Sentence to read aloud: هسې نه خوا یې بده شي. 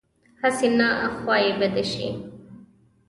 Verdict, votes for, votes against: accepted, 2, 0